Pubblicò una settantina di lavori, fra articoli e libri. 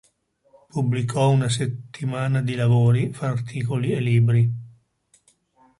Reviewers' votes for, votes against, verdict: 0, 2, rejected